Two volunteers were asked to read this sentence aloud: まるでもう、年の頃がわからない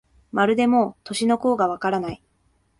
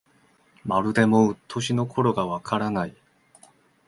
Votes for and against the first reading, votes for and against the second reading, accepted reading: 1, 2, 2, 0, second